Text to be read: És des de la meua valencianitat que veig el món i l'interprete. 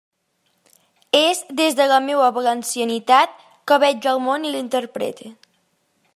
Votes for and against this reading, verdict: 3, 0, accepted